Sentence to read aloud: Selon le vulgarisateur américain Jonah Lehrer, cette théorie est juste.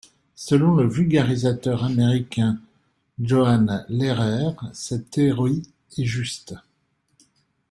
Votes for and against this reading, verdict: 2, 1, accepted